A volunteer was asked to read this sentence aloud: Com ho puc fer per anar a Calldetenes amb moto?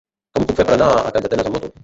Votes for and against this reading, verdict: 0, 2, rejected